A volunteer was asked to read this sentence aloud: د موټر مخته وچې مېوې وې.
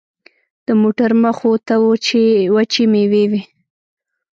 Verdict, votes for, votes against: rejected, 1, 2